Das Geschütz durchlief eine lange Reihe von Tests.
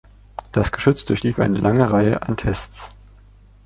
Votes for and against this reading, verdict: 0, 2, rejected